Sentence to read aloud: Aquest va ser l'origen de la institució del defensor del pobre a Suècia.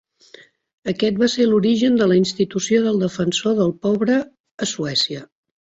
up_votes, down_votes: 3, 0